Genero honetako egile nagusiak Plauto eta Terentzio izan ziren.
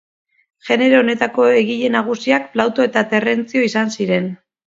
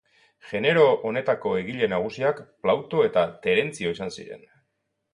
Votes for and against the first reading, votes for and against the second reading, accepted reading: 0, 2, 2, 0, second